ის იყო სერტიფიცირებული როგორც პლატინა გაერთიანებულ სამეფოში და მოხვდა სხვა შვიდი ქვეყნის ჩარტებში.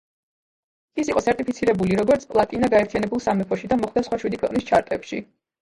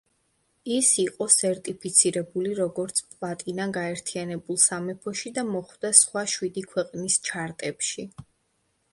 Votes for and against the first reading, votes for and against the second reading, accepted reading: 0, 2, 2, 0, second